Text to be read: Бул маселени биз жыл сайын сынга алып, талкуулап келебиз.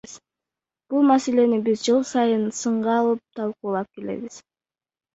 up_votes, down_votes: 1, 2